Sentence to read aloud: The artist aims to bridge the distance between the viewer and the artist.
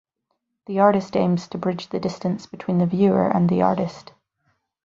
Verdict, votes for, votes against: accepted, 8, 0